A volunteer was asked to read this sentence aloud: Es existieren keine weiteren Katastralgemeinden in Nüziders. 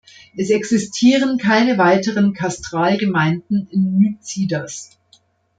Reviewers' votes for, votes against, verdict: 0, 2, rejected